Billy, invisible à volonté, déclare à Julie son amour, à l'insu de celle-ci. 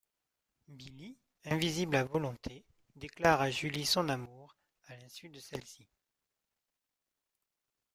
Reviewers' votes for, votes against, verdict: 2, 1, accepted